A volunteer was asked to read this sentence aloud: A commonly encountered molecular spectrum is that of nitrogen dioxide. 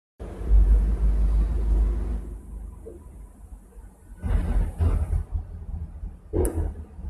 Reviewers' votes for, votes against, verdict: 0, 2, rejected